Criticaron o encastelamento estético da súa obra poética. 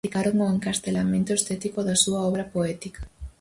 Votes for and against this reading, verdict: 2, 2, rejected